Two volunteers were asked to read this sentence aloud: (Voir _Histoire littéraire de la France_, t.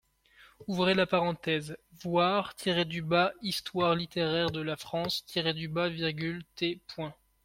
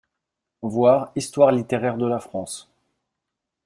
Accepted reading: first